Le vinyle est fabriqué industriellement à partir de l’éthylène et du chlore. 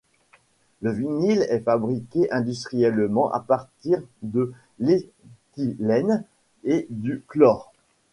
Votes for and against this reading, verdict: 1, 2, rejected